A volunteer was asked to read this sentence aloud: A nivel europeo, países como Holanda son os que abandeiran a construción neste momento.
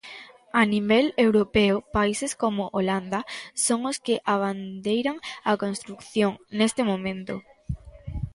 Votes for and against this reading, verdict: 0, 2, rejected